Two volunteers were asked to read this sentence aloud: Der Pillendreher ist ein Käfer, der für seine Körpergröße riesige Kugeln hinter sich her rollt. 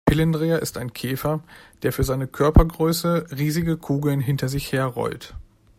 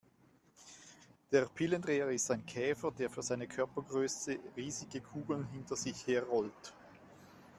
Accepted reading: second